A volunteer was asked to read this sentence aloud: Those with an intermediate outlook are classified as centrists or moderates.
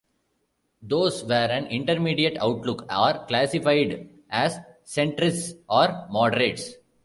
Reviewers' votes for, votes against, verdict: 0, 2, rejected